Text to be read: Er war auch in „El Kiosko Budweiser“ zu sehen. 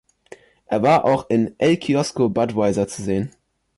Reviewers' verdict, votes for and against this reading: accepted, 2, 0